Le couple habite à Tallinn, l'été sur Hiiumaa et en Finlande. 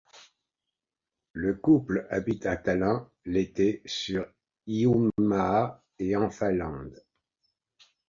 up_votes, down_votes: 1, 2